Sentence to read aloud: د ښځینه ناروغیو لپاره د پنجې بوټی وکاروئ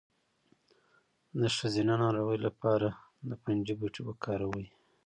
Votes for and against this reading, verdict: 1, 2, rejected